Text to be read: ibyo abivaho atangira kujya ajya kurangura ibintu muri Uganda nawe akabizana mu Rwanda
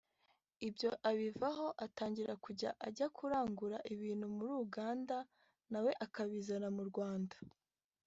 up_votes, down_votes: 2, 1